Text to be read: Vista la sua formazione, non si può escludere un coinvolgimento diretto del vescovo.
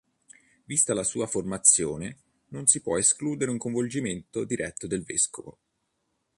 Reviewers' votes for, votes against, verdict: 2, 0, accepted